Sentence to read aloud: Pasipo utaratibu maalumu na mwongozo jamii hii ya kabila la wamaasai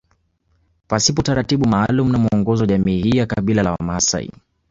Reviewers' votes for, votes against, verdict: 1, 2, rejected